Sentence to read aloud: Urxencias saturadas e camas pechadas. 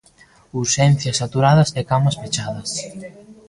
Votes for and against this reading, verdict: 2, 0, accepted